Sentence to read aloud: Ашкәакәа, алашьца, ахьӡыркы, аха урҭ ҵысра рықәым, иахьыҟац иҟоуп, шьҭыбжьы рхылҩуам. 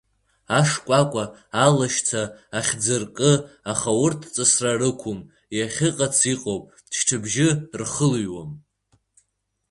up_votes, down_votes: 3, 1